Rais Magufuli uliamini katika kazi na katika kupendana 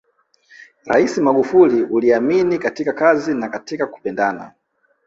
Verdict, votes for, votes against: accepted, 3, 2